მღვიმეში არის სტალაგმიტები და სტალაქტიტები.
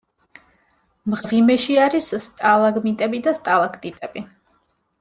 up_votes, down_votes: 2, 0